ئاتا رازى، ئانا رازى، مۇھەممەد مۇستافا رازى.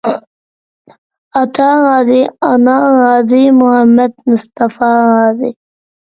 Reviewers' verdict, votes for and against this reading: accepted, 2, 0